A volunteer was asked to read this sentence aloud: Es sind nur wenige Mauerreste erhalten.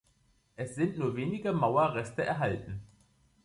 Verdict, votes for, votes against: accepted, 2, 0